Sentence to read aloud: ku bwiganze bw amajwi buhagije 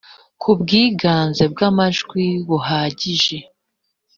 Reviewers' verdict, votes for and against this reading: accepted, 2, 0